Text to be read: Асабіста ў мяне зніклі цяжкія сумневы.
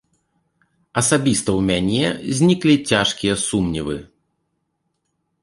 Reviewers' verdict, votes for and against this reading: rejected, 0, 2